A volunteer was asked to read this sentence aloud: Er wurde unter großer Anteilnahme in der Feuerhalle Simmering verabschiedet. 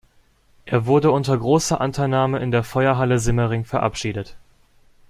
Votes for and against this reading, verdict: 2, 0, accepted